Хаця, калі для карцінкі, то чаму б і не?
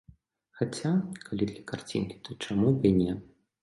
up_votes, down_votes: 2, 0